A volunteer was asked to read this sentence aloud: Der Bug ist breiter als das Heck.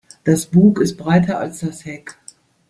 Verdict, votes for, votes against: rejected, 0, 2